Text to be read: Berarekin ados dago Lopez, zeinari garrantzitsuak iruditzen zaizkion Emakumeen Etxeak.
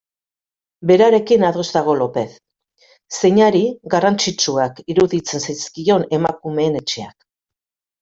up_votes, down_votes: 3, 0